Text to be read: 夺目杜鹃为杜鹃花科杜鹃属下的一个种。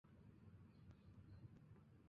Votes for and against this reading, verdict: 0, 2, rejected